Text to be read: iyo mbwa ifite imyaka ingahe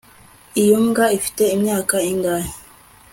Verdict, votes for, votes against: accepted, 2, 0